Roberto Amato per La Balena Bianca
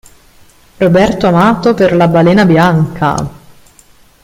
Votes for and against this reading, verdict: 1, 2, rejected